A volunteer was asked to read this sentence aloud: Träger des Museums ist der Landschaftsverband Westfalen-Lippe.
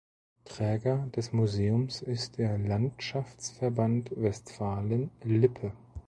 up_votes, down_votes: 2, 0